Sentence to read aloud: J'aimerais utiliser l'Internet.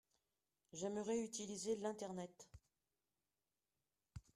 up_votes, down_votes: 2, 0